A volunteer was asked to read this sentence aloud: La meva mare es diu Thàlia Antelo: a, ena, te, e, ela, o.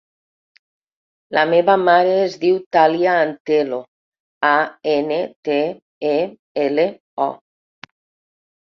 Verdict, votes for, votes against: rejected, 2, 4